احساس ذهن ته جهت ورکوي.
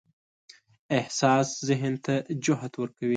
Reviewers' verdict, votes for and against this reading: rejected, 1, 2